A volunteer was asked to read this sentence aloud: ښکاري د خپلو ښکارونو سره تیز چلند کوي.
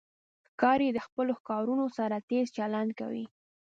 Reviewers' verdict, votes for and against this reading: accepted, 3, 0